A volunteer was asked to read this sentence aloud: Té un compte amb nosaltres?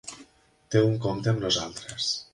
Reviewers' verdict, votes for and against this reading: rejected, 1, 2